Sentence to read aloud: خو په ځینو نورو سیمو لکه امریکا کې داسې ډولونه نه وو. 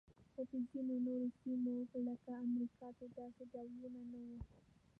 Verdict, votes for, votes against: rejected, 1, 2